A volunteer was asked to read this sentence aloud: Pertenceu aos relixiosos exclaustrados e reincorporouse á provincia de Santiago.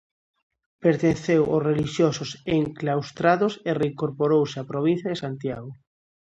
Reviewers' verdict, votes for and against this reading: rejected, 0, 2